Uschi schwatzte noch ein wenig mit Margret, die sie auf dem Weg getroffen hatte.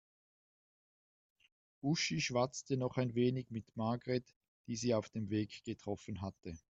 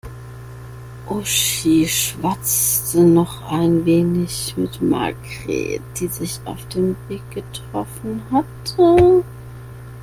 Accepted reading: first